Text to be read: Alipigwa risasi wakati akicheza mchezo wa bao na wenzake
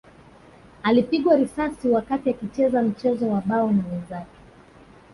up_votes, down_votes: 1, 2